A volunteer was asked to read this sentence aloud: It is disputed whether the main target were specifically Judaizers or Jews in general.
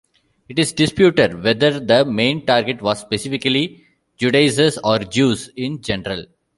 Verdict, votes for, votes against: rejected, 1, 2